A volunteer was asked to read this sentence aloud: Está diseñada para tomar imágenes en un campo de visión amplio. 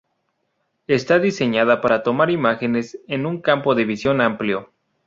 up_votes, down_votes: 4, 0